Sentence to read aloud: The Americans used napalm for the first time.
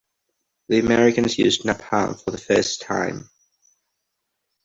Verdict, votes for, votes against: accepted, 2, 0